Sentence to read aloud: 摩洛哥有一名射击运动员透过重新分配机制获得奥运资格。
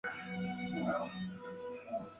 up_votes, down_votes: 0, 2